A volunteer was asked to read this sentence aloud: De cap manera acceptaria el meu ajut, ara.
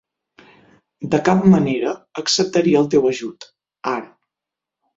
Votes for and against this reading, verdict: 0, 6, rejected